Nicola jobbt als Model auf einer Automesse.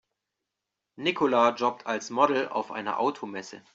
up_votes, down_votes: 2, 0